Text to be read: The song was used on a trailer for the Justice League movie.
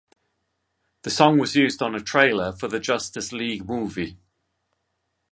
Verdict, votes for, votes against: accepted, 3, 0